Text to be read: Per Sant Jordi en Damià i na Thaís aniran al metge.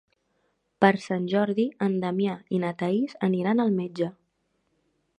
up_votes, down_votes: 4, 0